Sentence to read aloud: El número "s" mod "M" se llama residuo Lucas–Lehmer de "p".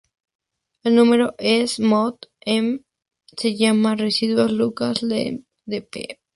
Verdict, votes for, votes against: rejected, 2, 6